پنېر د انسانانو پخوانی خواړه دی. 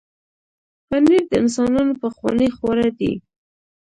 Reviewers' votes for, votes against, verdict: 0, 2, rejected